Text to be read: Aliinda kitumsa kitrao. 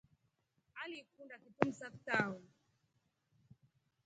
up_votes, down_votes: 1, 2